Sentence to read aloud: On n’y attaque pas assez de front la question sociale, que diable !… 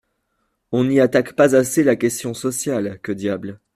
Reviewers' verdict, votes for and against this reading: rejected, 0, 2